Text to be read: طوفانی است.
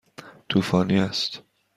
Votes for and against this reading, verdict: 2, 0, accepted